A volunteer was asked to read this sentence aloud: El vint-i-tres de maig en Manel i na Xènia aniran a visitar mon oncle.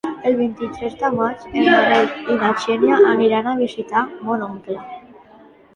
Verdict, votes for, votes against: accepted, 2, 0